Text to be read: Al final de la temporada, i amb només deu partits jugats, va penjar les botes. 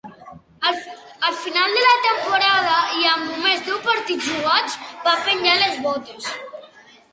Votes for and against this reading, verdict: 2, 0, accepted